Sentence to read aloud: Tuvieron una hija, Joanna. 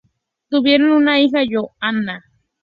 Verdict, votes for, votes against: accepted, 2, 0